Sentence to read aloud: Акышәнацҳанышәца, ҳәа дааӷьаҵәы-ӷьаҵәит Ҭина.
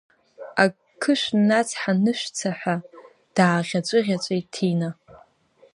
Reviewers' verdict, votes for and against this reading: accepted, 2, 1